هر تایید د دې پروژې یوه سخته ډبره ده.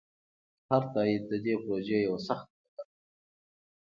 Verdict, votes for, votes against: accepted, 2, 0